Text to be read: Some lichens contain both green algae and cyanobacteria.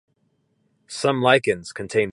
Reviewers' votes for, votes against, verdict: 0, 2, rejected